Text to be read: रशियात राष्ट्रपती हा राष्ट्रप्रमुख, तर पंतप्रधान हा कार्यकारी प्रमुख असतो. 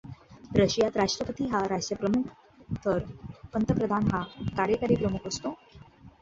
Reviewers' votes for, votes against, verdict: 2, 0, accepted